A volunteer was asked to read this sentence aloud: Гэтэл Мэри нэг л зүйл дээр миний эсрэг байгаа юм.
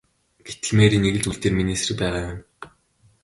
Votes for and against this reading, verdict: 3, 0, accepted